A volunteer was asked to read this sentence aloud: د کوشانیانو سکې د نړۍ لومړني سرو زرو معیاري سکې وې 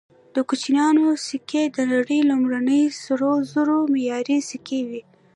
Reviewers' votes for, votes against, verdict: 1, 2, rejected